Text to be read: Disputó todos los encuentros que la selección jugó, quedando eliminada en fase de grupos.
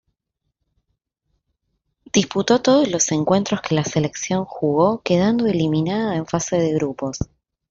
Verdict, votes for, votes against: accepted, 2, 0